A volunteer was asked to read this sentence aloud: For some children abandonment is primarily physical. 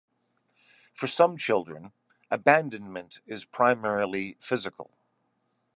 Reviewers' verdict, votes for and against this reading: accepted, 2, 0